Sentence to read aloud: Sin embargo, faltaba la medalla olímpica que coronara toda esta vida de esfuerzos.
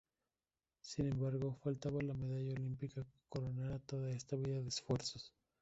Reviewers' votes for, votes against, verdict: 2, 1, accepted